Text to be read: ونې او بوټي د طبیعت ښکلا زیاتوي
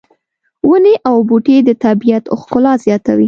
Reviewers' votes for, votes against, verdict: 2, 0, accepted